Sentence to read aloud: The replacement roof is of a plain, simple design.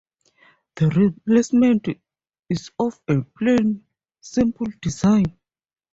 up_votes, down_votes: 0, 2